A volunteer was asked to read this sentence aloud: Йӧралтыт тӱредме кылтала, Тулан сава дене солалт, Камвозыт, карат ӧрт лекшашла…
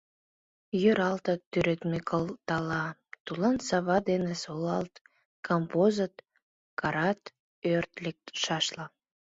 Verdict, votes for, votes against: accepted, 2, 1